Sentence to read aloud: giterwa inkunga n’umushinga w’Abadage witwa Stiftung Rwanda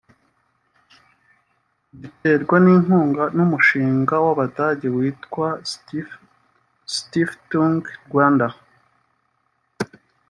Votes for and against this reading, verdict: 0, 2, rejected